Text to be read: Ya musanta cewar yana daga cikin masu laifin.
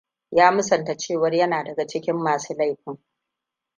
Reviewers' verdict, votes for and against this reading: accepted, 2, 0